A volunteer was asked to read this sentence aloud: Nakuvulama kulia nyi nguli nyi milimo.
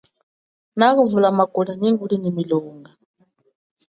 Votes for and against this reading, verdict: 2, 0, accepted